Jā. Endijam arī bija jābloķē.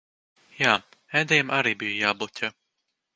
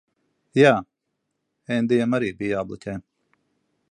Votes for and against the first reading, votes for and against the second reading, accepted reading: 1, 3, 3, 0, second